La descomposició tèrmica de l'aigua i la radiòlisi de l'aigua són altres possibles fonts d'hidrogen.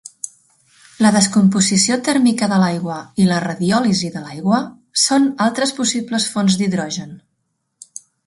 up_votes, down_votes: 0, 2